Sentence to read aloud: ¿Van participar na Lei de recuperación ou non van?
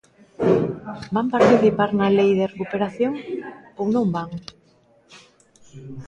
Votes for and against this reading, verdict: 2, 0, accepted